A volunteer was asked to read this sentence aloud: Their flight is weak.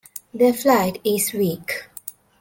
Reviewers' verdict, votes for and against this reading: accepted, 2, 0